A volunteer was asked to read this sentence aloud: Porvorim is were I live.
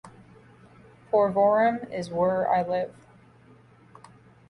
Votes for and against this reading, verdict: 2, 0, accepted